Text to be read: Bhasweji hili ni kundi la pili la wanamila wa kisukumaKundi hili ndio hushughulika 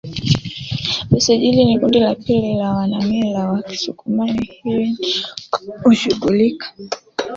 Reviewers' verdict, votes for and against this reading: rejected, 0, 3